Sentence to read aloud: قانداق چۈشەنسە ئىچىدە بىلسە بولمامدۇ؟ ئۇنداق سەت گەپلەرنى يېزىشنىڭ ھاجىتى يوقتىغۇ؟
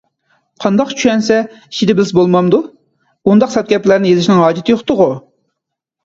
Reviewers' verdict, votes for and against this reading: accepted, 2, 0